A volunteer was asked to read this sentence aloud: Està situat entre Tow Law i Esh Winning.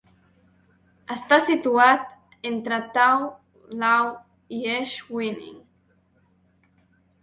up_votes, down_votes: 1, 2